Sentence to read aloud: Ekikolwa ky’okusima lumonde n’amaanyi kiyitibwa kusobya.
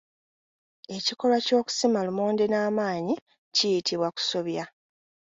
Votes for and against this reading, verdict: 2, 0, accepted